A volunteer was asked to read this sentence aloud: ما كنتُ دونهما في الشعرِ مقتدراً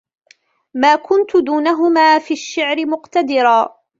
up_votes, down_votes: 2, 0